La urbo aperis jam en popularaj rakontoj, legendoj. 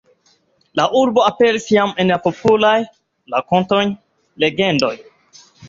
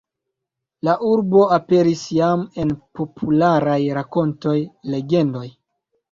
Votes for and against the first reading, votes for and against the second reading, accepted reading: 2, 1, 1, 2, first